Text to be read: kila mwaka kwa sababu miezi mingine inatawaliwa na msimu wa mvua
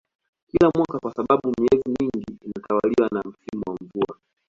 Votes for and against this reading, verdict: 0, 2, rejected